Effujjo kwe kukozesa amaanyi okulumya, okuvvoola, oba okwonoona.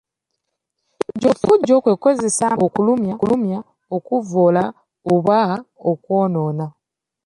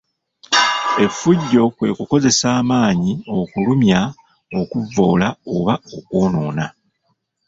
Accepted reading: first